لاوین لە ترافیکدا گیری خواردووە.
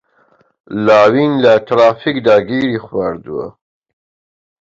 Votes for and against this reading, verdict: 2, 0, accepted